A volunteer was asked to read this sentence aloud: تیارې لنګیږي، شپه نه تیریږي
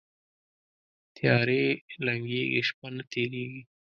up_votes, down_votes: 0, 2